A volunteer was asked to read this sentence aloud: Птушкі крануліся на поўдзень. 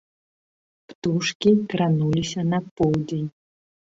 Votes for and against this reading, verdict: 2, 0, accepted